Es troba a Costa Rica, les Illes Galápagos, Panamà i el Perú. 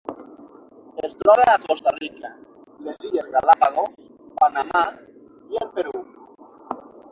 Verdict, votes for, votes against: rejected, 0, 6